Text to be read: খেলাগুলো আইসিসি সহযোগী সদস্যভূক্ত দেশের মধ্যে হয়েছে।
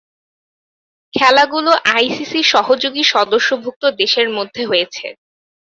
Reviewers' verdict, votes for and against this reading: accepted, 4, 0